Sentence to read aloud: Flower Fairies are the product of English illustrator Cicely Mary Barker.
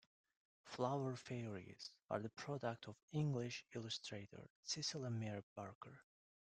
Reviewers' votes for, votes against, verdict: 2, 0, accepted